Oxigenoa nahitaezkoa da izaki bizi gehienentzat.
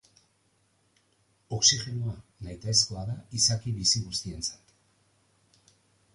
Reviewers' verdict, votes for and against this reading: rejected, 0, 2